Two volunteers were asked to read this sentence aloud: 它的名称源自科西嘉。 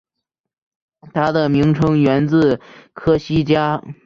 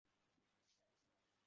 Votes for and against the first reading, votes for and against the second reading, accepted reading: 2, 0, 0, 3, first